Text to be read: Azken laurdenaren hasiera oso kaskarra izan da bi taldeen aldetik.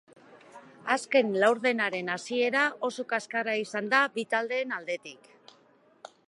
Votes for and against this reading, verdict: 2, 0, accepted